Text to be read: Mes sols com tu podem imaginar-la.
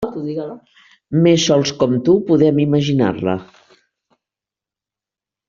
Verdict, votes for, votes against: accepted, 3, 0